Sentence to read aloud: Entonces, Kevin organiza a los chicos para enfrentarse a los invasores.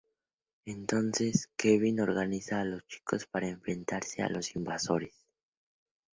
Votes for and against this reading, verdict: 2, 0, accepted